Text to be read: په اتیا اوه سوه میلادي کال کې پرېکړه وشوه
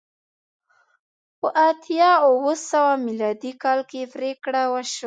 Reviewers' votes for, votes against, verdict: 2, 0, accepted